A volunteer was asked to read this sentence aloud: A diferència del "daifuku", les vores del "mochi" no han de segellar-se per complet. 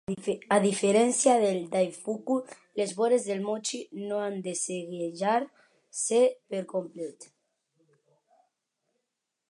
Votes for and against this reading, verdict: 1, 2, rejected